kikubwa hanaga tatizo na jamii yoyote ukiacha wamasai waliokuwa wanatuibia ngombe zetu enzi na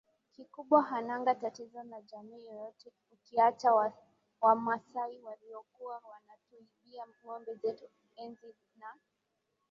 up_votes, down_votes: 10, 4